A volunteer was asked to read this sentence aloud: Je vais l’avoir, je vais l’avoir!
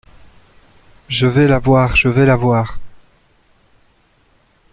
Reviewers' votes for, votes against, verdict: 2, 0, accepted